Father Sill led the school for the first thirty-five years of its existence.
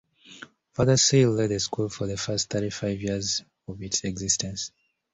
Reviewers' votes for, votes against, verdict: 2, 0, accepted